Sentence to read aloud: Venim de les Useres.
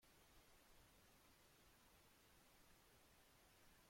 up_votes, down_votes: 0, 3